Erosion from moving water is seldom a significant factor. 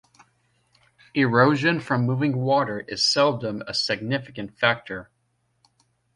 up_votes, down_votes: 2, 0